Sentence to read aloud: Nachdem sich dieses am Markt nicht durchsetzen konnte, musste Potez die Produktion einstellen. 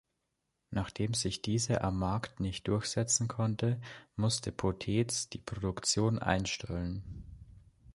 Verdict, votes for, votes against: rejected, 1, 2